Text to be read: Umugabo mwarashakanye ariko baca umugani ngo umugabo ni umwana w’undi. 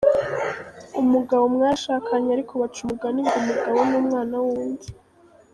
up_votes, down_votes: 0, 2